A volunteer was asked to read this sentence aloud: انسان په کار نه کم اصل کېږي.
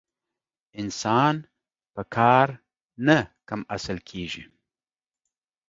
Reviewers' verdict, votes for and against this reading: accepted, 2, 0